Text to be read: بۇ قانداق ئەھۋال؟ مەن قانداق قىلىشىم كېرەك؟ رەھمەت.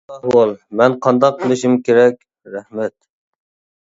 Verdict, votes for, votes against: rejected, 0, 2